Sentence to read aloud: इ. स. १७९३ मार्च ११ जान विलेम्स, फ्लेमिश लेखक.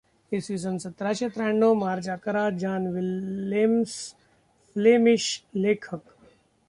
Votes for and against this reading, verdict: 0, 2, rejected